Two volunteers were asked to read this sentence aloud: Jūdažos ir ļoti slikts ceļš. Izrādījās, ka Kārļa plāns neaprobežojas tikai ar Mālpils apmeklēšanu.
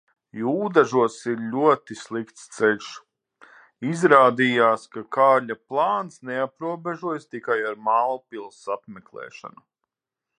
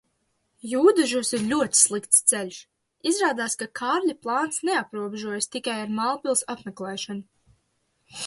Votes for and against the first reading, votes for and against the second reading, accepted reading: 6, 0, 0, 2, first